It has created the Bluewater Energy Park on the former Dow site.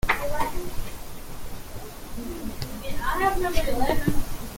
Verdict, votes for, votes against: rejected, 0, 2